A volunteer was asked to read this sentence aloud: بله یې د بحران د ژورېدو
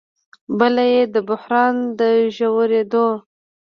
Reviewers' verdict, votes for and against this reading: accepted, 2, 1